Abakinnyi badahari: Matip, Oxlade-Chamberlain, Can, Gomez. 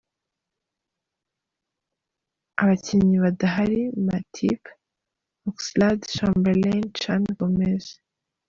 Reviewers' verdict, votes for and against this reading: accepted, 2, 0